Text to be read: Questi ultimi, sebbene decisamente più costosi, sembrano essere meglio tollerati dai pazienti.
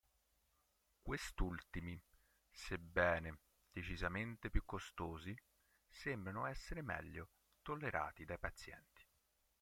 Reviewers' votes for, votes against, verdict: 0, 5, rejected